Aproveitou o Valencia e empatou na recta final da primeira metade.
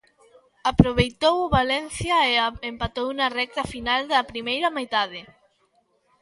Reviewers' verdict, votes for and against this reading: rejected, 0, 2